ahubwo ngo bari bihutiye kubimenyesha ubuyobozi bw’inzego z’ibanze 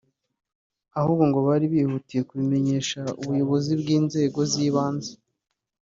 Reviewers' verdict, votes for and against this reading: accepted, 2, 1